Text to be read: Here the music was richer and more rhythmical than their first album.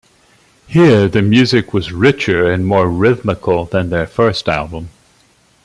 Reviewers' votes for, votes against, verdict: 2, 0, accepted